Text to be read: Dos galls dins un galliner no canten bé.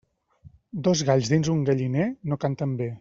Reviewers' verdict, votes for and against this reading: accepted, 2, 0